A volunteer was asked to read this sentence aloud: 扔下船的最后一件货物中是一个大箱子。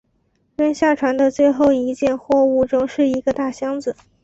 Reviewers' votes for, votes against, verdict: 3, 0, accepted